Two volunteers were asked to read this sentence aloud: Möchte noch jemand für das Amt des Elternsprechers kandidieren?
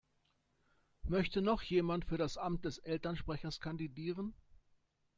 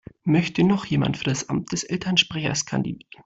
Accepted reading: first